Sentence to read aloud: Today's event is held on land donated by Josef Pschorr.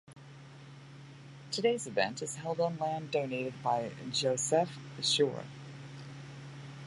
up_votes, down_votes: 2, 0